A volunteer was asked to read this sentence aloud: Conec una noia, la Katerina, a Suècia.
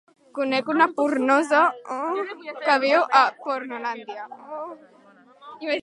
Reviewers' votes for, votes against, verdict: 0, 2, rejected